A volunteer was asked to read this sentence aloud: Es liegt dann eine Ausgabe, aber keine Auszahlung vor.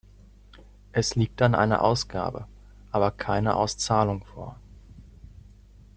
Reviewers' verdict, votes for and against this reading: rejected, 0, 2